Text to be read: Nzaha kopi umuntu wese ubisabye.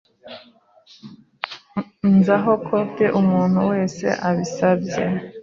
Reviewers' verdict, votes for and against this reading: rejected, 0, 2